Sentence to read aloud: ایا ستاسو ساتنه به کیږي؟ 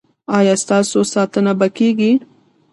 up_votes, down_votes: 1, 2